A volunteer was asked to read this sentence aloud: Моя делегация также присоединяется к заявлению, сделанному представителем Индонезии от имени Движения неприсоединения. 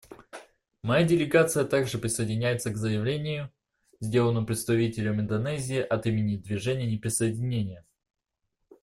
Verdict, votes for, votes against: accepted, 2, 0